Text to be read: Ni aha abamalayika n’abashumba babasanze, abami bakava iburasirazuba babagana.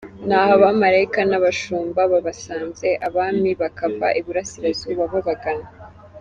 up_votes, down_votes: 2, 0